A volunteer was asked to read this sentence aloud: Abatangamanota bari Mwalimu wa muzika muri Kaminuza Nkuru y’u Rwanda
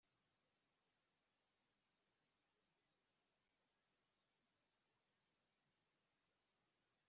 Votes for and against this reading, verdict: 1, 2, rejected